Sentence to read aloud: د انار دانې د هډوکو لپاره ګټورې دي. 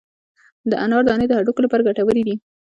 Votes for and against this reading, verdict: 1, 2, rejected